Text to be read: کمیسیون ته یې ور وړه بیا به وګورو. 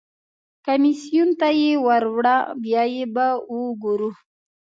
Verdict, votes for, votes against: rejected, 0, 2